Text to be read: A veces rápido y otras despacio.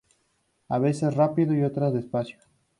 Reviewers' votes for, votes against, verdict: 2, 0, accepted